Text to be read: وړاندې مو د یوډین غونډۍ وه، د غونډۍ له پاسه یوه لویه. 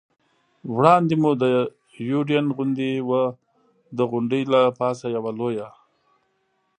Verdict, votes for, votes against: rejected, 0, 2